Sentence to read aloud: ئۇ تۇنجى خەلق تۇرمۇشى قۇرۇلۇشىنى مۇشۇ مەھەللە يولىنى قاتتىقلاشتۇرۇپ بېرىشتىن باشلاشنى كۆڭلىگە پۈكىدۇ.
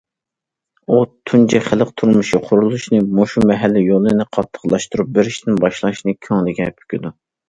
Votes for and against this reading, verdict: 2, 0, accepted